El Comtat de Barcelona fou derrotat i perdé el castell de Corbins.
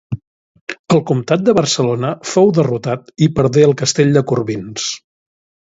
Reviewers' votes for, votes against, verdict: 2, 0, accepted